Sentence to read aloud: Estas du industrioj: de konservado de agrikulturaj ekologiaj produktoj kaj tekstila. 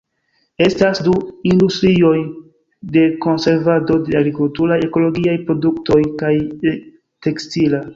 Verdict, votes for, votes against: rejected, 0, 2